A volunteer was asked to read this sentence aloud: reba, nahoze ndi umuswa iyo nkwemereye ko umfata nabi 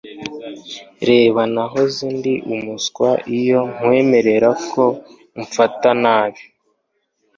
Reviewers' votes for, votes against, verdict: 2, 0, accepted